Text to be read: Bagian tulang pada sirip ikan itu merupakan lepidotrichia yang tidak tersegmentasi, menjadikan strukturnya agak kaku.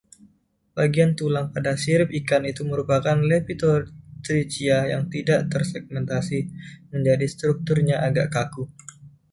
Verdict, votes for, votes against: rejected, 1, 2